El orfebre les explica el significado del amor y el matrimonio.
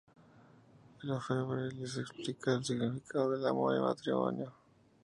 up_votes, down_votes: 2, 0